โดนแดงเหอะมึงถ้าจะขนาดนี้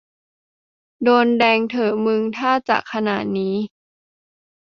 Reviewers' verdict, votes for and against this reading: rejected, 0, 2